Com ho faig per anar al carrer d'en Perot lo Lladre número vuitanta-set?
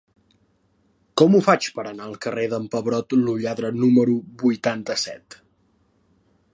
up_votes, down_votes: 1, 2